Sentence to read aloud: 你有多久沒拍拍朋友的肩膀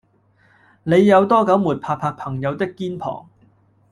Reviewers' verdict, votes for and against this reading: rejected, 1, 2